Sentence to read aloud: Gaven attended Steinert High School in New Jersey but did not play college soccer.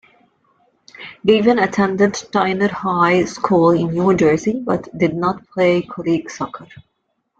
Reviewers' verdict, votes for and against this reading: accepted, 2, 1